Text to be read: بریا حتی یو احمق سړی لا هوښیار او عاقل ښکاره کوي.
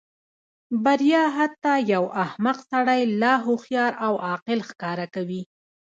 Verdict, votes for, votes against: accepted, 2, 0